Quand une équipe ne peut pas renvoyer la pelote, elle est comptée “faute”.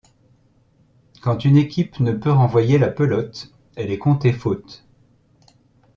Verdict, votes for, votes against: rejected, 1, 2